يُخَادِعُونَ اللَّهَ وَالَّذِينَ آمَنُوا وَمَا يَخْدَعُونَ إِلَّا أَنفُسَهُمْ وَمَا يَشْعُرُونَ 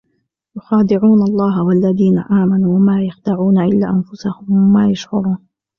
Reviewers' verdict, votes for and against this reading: accepted, 2, 0